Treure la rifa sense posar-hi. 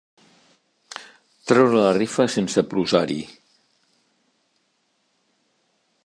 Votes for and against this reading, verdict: 0, 2, rejected